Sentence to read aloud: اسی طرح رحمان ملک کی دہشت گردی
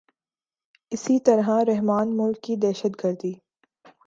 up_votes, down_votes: 2, 0